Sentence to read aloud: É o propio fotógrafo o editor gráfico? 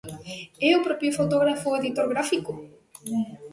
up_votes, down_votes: 2, 0